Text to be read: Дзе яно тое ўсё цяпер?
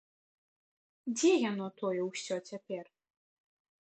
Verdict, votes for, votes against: accepted, 2, 0